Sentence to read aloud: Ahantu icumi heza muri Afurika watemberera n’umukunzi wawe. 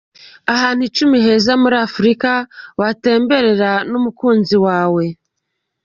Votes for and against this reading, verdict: 2, 0, accepted